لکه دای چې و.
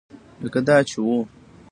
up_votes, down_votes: 0, 2